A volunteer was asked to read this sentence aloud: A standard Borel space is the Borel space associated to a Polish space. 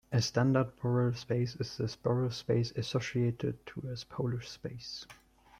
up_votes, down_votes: 0, 2